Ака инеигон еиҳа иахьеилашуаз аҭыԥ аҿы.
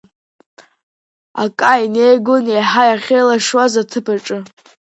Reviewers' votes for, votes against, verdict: 2, 1, accepted